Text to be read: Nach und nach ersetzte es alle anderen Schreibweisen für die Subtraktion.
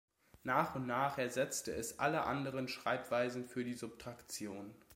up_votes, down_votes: 2, 0